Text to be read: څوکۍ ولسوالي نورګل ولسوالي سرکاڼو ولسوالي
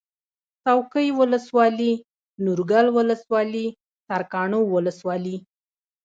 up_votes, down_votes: 2, 0